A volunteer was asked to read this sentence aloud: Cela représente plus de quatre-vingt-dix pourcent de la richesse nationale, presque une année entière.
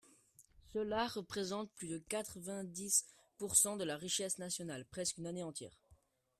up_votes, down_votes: 1, 2